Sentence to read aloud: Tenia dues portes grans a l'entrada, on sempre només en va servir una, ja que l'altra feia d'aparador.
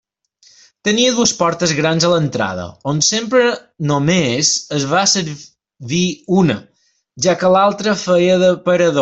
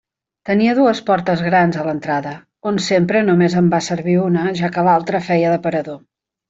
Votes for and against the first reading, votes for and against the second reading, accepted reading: 1, 2, 2, 0, second